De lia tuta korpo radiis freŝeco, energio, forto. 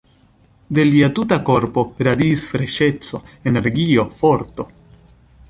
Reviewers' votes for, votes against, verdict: 2, 0, accepted